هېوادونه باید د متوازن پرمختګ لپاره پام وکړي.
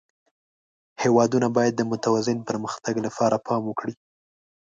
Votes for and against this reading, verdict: 2, 0, accepted